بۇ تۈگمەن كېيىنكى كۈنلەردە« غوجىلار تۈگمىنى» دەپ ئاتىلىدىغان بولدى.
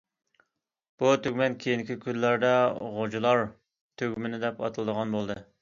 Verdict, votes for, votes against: accepted, 2, 0